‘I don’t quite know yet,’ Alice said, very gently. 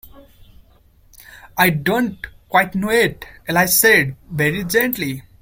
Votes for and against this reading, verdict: 1, 2, rejected